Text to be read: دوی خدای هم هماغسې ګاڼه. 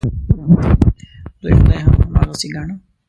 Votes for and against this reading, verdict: 0, 2, rejected